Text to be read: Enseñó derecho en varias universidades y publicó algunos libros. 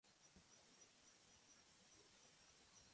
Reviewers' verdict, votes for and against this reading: rejected, 0, 2